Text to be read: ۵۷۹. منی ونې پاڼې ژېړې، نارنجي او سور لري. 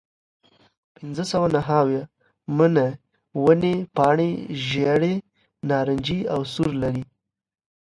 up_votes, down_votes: 0, 2